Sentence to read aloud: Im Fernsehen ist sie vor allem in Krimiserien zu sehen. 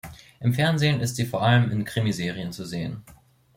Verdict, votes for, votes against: accepted, 2, 0